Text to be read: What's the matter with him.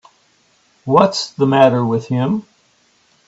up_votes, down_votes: 3, 0